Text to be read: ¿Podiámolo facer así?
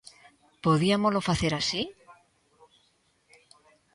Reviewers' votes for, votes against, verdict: 1, 2, rejected